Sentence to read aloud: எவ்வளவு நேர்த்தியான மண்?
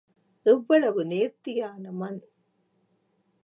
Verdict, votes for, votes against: accepted, 3, 0